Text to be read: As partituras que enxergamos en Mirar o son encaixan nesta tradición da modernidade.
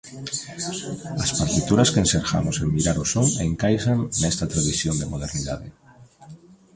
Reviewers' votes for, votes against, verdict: 0, 2, rejected